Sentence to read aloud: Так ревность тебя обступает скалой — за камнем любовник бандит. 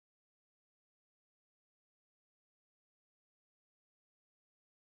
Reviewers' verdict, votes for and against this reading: rejected, 0, 14